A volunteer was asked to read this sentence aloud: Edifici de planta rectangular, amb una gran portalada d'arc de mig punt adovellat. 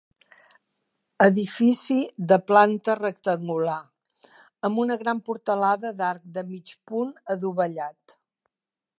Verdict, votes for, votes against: accepted, 3, 1